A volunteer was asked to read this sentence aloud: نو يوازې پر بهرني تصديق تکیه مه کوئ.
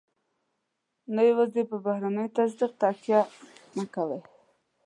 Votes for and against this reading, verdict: 2, 1, accepted